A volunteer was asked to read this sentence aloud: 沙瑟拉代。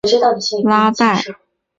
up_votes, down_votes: 2, 3